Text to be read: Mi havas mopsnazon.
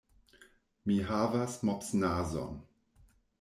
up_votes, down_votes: 2, 0